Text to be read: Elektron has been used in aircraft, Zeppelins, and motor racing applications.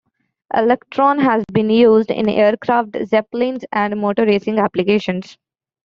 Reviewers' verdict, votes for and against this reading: accepted, 2, 0